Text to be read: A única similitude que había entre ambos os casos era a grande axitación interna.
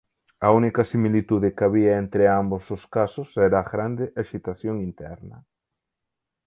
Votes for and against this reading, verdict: 2, 4, rejected